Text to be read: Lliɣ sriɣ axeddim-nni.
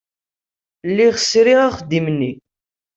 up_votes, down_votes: 2, 0